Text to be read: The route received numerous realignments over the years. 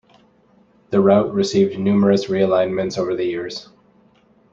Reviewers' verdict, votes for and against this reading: accepted, 2, 0